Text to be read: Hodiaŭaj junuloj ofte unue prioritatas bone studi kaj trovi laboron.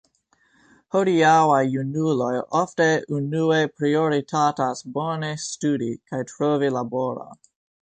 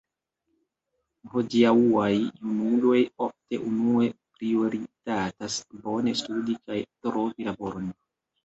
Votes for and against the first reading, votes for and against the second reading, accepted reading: 2, 0, 1, 2, first